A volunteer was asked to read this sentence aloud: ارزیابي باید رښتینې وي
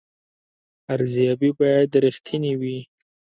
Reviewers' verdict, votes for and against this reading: accepted, 2, 0